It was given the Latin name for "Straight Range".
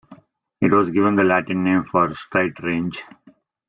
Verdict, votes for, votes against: accepted, 2, 0